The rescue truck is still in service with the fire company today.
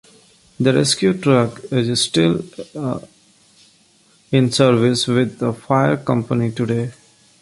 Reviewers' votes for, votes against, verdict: 0, 2, rejected